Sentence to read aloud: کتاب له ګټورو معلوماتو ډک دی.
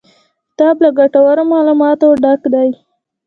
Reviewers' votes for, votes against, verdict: 2, 0, accepted